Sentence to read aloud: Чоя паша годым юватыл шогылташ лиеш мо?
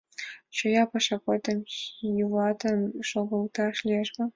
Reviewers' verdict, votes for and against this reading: rejected, 1, 3